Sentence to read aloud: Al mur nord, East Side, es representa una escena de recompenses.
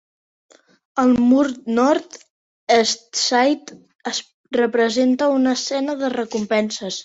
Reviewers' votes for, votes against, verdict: 1, 2, rejected